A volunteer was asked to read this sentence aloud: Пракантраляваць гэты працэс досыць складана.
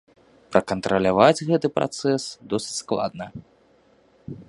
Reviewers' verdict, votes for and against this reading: rejected, 0, 2